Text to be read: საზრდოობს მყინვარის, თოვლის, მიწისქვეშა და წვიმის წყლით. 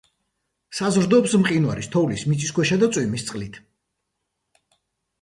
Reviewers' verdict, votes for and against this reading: rejected, 0, 2